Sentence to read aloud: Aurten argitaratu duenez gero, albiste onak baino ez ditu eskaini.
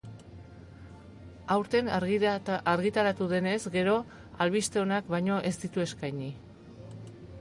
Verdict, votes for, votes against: rejected, 0, 2